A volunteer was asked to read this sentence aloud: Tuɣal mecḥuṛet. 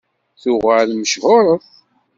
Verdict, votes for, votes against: rejected, 0, 2